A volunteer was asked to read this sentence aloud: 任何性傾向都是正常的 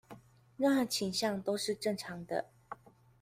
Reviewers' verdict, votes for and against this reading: rejected, 1, 2